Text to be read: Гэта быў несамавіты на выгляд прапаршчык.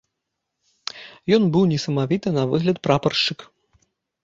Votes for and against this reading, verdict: 0, 2, rejected